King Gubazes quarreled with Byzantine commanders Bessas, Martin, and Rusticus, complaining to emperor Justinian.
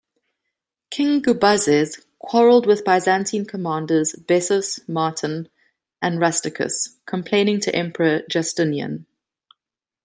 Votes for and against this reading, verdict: 2, 0, accepted